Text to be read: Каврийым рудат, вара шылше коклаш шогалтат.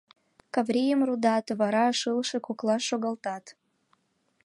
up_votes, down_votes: 2, 0